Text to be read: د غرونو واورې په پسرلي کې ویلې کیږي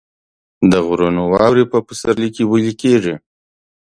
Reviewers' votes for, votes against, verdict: 2, 0, accepted